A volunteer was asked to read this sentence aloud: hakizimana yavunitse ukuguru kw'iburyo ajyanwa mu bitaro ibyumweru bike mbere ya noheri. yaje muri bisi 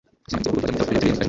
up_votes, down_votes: 1, 2